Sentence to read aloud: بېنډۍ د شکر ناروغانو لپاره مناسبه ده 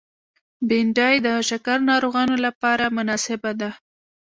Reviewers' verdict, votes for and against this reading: accepted, 3, 0